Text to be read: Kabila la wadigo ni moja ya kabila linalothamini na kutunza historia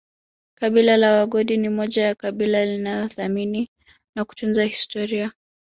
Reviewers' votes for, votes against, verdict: 1, 2, rejected